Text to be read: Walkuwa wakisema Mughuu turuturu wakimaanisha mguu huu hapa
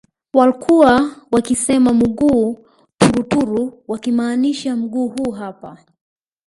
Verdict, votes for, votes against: rejected, 1, 2